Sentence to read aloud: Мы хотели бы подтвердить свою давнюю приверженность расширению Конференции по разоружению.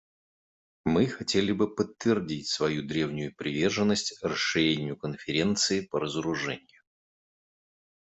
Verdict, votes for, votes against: rejected, 0, 2